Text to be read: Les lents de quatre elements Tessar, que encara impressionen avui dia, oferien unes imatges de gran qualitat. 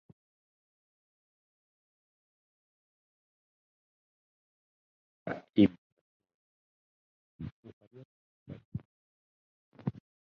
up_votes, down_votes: 0, 4